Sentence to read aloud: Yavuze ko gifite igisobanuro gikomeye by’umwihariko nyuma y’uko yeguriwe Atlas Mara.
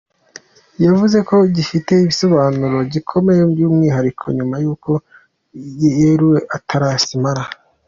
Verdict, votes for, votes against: accepted, 3, 0